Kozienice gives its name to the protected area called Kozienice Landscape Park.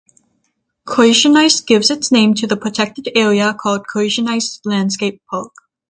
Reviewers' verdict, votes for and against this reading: accepted, 6, 0